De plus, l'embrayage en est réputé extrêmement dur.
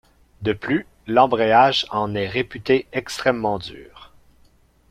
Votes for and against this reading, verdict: 2, 1, accepted